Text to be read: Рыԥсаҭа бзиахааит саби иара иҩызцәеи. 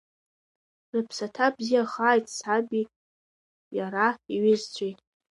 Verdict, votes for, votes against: rejected, 0, 2